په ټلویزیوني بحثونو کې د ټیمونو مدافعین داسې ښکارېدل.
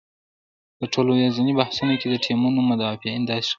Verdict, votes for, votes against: rejected, 1, 2